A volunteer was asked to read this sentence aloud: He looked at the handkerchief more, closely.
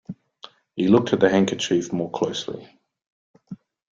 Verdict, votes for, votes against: accepted, 2, 0